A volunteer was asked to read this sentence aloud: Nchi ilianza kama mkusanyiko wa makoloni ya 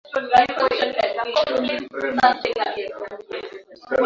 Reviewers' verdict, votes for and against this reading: rejected, 0, 2